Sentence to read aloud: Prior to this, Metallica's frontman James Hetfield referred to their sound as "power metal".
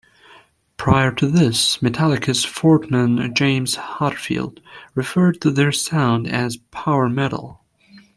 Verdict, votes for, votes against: rejected, 1, 2